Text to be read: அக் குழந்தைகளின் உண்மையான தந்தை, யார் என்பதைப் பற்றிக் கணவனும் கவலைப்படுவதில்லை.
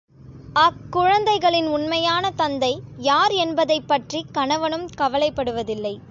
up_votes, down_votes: 2, 0